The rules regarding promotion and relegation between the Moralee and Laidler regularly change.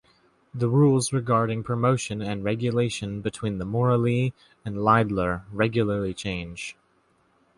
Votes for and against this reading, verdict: 0, 2, rejected